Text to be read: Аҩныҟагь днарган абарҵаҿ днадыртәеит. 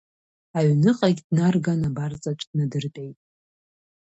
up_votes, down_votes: 2, 0